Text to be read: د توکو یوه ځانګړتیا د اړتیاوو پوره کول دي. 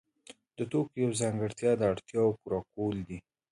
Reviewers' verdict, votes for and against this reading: accepted, 2, 0